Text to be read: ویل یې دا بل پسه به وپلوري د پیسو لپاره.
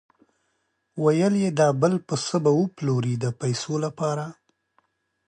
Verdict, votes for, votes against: accepted, 2, 0